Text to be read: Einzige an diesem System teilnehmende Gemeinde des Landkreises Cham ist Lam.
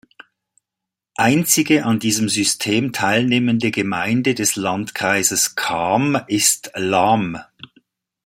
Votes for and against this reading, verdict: 2, 0, accepted